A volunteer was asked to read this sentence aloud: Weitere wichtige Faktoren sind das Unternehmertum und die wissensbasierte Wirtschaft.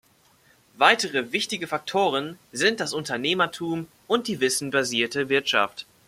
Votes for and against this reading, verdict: 2, 0, accepted